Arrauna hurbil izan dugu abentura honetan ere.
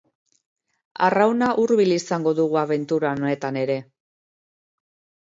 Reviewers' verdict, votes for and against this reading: rejected, 0, 2